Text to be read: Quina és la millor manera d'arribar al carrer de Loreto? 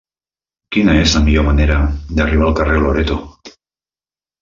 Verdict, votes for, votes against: rejected, 0, 2